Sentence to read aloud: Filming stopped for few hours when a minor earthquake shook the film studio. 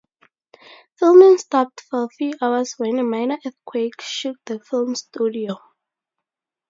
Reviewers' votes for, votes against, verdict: 0, 2, rejected